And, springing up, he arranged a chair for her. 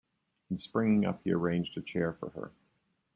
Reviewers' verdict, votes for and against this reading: accepted, 2, 0